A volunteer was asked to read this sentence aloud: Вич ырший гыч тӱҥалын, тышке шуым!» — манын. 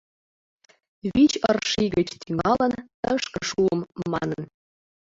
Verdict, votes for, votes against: rejected, 1, 2